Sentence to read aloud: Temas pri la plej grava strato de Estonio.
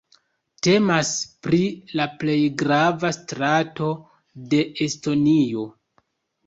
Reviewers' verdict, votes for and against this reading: accepted, 2, 0